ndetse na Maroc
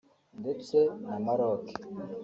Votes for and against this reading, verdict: 0, 2, rejected